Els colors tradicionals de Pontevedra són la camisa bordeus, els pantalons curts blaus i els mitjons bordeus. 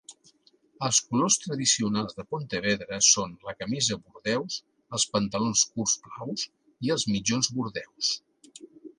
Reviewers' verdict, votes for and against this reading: accepted, 2, 0